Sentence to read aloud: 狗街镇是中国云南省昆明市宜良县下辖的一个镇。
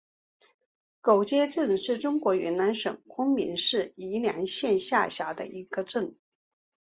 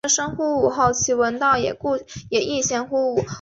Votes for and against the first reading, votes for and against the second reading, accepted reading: 8, 0, 0, 2, first